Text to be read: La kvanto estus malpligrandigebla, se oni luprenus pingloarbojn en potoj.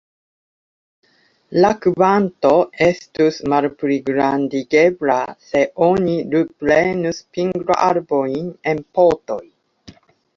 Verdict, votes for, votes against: accepted, 2, 0